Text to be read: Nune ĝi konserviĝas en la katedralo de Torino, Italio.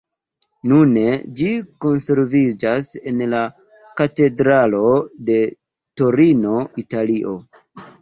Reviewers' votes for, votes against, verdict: 2, 0, accepted